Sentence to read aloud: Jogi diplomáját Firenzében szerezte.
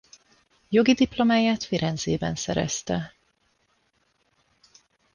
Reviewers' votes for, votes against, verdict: 2, 0, accepted